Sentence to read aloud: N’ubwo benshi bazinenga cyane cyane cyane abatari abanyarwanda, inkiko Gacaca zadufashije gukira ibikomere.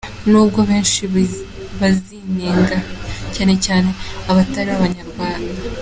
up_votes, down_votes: 1, 3